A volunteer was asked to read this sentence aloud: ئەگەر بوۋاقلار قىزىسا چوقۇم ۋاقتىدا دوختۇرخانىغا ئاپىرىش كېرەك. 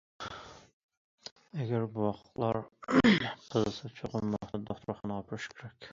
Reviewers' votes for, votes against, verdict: 0, 2, rejected